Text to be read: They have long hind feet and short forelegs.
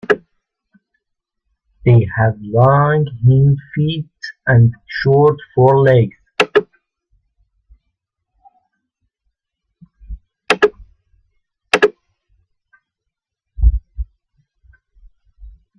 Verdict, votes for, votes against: rejected, 0, 2